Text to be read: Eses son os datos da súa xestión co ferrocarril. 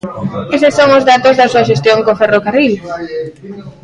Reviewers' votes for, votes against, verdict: 0, 2, rejected